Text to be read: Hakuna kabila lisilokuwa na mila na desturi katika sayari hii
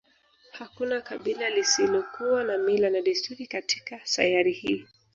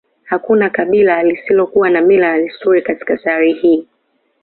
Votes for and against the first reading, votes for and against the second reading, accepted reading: 0, 2, 2, 0, second